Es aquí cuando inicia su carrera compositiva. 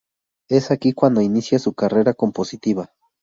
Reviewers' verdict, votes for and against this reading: accepted, 2, 0